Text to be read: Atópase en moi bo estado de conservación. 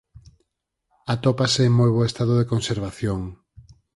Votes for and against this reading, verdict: 4, 0, accepted